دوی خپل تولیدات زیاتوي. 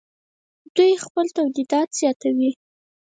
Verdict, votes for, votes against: accepted, 4, 0